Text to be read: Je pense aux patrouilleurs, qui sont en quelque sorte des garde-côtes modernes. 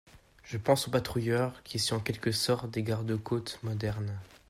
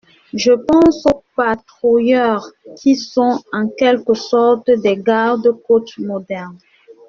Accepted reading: first